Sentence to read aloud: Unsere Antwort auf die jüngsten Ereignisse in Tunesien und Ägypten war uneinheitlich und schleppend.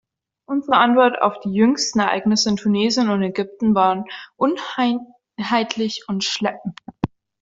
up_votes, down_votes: 0, 2